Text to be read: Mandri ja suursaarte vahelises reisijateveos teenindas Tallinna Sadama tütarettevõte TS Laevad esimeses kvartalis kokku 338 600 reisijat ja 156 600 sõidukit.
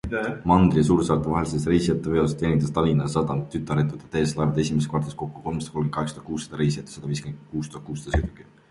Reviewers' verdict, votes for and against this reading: rejected, 0, 2